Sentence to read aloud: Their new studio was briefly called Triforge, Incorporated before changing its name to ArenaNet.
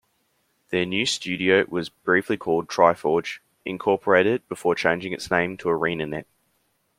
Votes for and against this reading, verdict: 2, 0, accepted